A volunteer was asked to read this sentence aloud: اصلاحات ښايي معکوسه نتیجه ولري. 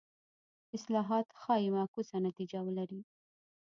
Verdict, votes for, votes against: accepted, 2, 0